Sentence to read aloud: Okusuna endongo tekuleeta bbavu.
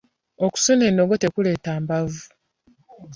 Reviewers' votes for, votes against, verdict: 1, 2, rejected